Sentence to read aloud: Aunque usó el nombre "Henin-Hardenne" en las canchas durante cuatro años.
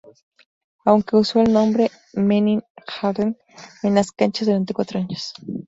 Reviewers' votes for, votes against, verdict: 2, 0, accepted